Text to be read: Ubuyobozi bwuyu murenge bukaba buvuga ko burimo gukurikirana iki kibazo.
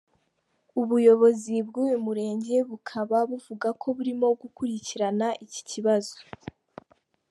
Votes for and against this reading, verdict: 2, 0, accepted